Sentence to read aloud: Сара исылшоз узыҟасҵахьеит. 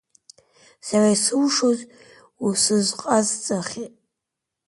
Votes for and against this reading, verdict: 0, 2, rejected